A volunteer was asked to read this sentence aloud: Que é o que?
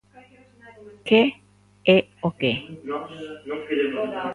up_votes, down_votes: 1, 2